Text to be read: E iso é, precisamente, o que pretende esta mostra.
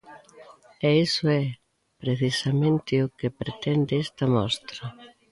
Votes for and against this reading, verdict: 1, 2, rejected